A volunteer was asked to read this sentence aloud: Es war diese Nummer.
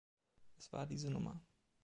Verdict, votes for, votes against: accepted, 2, 1